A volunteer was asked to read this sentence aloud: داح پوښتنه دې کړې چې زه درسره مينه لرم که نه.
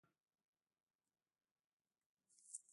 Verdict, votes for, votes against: rejected, 1, 2